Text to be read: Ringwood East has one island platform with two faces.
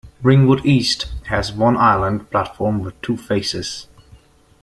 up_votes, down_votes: 0, 2